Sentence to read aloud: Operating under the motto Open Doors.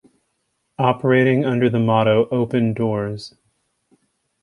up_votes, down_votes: 2, 0